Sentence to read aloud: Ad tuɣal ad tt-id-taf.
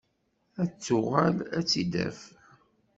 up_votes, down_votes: 1, 2